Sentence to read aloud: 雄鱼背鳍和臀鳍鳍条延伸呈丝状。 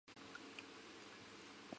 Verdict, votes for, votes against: accepted, 3, 2